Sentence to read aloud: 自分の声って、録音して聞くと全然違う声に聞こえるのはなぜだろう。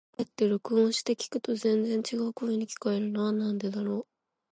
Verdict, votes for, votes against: rejected, 1, 2